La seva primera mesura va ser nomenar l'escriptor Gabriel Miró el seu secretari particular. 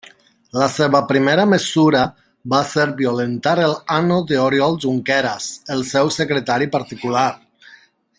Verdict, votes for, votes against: rejected, 0, 2